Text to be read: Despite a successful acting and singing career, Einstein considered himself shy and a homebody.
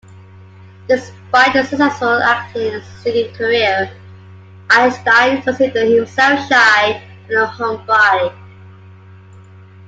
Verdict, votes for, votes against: accepted, 2, 0